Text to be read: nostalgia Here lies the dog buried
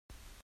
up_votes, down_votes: 0, 2